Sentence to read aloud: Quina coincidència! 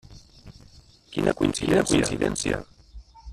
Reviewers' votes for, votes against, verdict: 0, 2, rejected